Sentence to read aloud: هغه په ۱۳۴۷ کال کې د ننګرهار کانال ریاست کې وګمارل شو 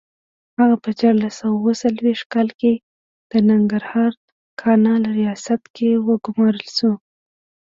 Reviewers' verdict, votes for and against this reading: rejected, 0, 2